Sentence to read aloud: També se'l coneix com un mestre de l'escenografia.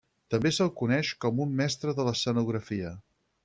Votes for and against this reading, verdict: 4, 0, accepted